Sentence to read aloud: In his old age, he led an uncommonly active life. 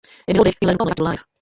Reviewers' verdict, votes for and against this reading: rejected, 0, 2